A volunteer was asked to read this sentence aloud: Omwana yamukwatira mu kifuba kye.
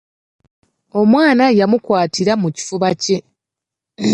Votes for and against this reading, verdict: 2, 0, accepted